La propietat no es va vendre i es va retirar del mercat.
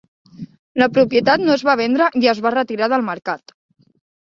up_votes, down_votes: 3, 0